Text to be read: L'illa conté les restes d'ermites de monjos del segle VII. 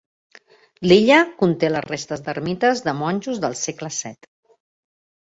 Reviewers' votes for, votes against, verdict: 3, 0, accepted